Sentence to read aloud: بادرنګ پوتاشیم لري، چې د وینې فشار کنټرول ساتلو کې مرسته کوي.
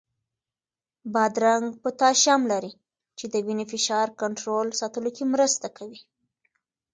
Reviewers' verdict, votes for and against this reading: accepted, 2, 0